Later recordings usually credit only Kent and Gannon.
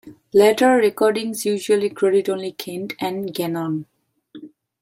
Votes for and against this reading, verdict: 2, 0, accepted